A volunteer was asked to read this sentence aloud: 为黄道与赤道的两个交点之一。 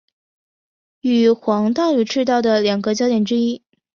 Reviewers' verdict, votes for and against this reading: accepted, 2, 0